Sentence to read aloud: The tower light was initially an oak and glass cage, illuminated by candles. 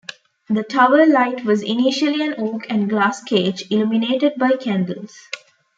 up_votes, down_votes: 2, 1